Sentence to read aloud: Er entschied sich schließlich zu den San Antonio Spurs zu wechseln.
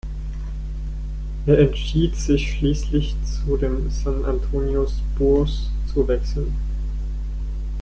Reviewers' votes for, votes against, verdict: 0, 2, rejected